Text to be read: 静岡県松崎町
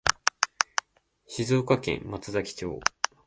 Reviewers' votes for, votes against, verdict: 2, 0, accepted